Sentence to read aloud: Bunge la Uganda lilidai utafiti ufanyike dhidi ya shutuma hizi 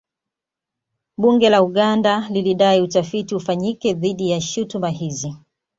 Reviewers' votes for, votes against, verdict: 2, 0, accepted